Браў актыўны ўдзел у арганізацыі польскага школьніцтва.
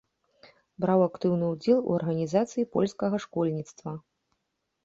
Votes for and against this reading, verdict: 2, 0, accepted